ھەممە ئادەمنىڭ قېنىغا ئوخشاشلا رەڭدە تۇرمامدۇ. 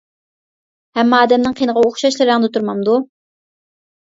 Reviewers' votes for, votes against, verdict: 2, 0, accepted